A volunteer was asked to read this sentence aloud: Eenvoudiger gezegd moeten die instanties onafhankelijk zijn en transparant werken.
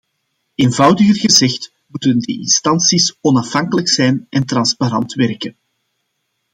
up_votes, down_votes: 2, 0